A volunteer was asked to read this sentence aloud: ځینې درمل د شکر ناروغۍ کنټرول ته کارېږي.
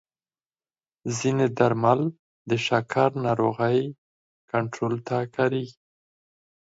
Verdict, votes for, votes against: accepted, 4, 0